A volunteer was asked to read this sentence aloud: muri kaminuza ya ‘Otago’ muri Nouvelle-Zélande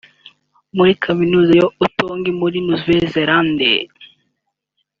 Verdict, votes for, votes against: accepted, 2, 0